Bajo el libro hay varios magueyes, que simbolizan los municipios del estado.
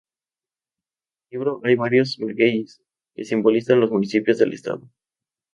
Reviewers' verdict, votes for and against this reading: rejected, 0, 4